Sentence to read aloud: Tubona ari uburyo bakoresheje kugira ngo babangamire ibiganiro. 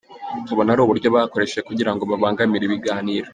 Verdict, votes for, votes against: accepted, 2, 1